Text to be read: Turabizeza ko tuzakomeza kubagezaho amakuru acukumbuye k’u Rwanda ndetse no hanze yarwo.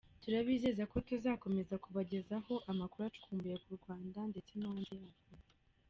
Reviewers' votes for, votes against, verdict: 1, 2, rejected